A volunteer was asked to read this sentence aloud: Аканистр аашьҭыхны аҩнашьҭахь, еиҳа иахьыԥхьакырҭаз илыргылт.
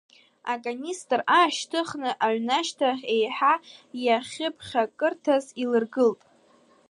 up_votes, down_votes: 2, 1